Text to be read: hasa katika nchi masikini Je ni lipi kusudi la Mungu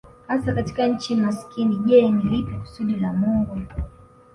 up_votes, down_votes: 2, 0